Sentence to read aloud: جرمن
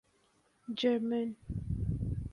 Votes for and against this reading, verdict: 2, 0, accepted